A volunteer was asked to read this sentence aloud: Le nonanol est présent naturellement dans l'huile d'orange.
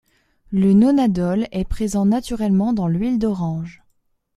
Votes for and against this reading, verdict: 2, 3, rejected